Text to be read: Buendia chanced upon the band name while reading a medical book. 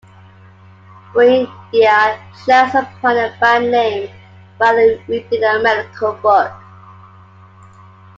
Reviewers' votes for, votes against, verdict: 0, 2, rejected